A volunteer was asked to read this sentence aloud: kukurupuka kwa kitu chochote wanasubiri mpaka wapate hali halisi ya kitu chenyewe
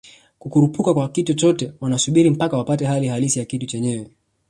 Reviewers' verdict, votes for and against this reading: accepted, 2, 1